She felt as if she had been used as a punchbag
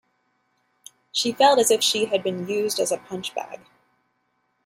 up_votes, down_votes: 2, 0